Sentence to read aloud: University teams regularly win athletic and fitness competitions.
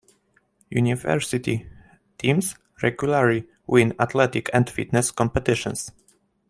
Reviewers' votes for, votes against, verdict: 2, 0, accepted